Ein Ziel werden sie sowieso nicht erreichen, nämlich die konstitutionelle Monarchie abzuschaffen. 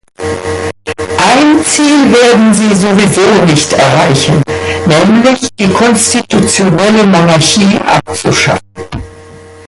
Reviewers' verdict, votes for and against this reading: rejected, 0, 2